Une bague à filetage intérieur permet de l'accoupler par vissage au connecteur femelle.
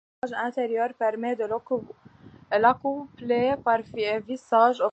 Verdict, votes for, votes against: rejected, 1, 2